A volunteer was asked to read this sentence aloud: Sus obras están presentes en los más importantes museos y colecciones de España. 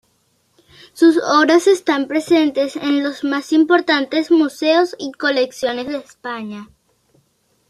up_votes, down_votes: 2, 0